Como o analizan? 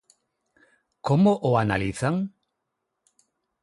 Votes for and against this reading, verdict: 6, 0, accepted